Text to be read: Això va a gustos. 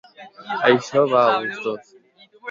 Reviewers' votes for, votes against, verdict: 2, 0, accepted